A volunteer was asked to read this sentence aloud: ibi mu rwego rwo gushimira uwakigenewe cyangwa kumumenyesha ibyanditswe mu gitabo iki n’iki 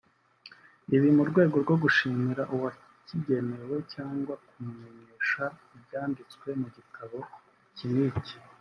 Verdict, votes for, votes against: rejected, 1, 2